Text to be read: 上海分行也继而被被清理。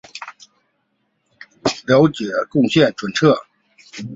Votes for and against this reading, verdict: 3, 1, accepted